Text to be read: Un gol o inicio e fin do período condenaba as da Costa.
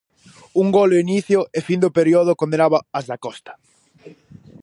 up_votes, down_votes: 0, 4